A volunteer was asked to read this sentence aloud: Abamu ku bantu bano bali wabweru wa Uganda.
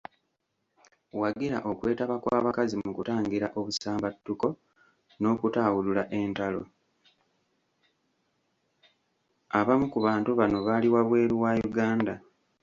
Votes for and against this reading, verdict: 0, 2, rejected